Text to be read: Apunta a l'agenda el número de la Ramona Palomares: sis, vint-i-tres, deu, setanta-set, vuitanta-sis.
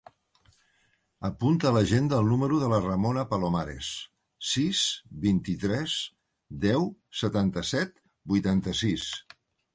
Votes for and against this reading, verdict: 3, 1, accepted